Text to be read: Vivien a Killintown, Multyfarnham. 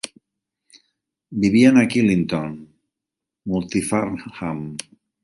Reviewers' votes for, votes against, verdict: 3, 0, accepted